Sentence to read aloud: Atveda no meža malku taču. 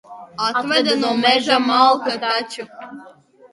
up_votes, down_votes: 0, 3